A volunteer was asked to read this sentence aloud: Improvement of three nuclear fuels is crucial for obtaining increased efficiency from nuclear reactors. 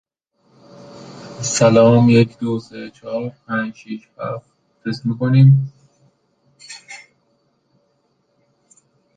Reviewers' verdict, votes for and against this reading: rejected, 0, 2